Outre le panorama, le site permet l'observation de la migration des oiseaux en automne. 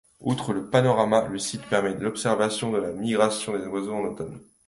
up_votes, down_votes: 2, 0